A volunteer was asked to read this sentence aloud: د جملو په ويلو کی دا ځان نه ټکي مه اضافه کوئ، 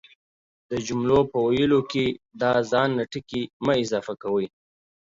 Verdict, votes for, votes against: accepted, 2, 0